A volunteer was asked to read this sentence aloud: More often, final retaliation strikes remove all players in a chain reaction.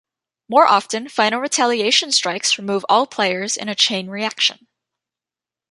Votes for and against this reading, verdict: 2, 0, accepted